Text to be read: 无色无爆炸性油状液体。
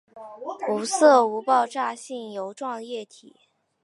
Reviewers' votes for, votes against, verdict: 2, 1, accepted